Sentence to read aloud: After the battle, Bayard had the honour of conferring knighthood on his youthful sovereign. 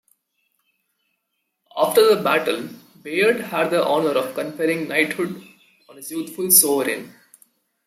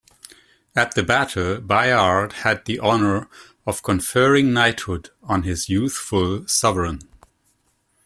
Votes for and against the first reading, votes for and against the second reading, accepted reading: 2, 0, 1, 2, first